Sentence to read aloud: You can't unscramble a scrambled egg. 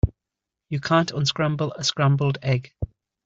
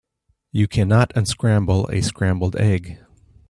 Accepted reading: first